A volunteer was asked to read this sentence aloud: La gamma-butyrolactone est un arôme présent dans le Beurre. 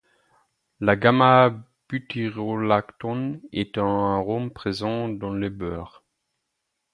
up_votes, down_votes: 2, 4